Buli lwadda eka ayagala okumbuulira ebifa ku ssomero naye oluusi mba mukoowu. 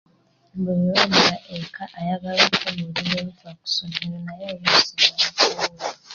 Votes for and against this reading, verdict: 2, 0, accepted